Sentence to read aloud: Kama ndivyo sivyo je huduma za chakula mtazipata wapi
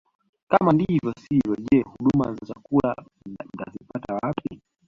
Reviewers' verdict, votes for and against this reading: rejected, 0, 2